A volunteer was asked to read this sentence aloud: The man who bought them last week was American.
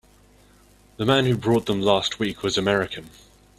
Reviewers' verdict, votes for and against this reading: rejected, 0, 2